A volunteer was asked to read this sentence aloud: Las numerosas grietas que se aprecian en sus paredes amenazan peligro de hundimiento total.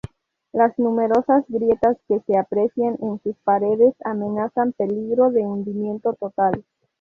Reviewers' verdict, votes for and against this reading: rejected, 0, 2